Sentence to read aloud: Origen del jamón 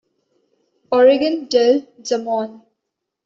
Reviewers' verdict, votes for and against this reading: rejected, 0, 2